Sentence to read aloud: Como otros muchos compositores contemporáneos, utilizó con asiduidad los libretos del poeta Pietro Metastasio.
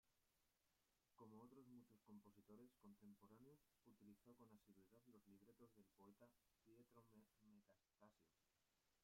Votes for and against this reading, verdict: 0, 2, rejected